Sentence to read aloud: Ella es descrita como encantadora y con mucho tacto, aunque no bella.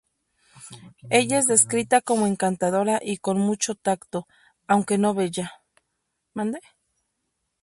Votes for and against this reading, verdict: 2, 2, rejected